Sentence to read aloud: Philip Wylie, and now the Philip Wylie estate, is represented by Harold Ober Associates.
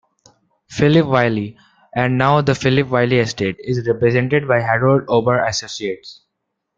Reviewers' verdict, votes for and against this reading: accepted, 2, 0